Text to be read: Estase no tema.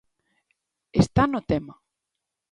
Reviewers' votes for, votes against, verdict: 0, 2, rejected